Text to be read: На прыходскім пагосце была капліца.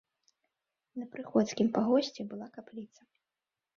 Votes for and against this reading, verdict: 1, 3, rejected